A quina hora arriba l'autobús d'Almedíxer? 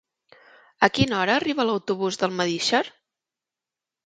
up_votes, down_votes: 2, 0